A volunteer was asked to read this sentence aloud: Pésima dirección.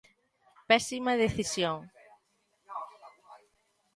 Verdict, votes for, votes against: rejected, 0, 2